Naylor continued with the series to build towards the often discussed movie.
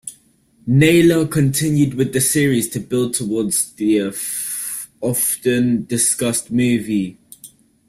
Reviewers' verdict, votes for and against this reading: rejected, 1, 2